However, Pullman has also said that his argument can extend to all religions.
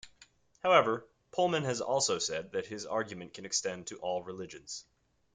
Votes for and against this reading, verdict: 2, 0, accepted